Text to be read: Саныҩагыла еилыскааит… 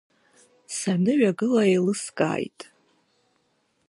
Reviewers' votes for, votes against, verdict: 0, 2, rejected